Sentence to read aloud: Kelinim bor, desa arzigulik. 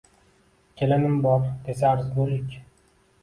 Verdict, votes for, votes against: accepted, 2, 0